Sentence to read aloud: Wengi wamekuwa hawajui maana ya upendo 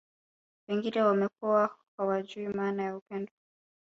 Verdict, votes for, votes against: rejected, 1, 2